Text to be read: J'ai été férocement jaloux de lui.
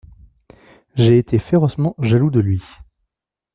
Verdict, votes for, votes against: accepted, 2, 0